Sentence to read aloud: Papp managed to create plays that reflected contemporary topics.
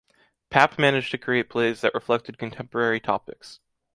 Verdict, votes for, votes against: accepted, 2, 0